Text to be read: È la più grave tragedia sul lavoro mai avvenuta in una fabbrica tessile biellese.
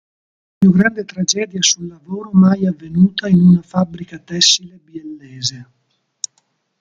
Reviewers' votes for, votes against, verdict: 0, 2, rejected